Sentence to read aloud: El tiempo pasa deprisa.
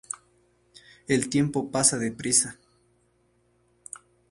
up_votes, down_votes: 2, 0